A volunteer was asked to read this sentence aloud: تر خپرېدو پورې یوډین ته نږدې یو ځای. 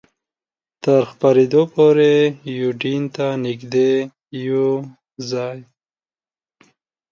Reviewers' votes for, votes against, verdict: 2, 0, accepted